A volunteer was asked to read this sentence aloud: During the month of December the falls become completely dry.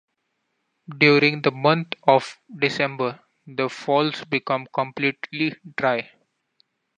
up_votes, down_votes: 2, 0